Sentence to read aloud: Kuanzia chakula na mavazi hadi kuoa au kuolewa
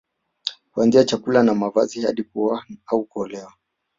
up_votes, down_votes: 1, 2